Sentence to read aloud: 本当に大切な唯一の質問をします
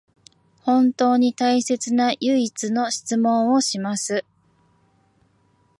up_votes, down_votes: 2, 0